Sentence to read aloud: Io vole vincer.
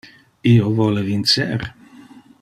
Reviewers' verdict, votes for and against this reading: accepted, 2, 0